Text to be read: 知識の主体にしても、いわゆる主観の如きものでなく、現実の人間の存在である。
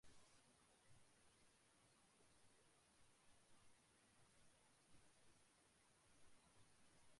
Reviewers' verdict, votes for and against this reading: rejected, 0, 2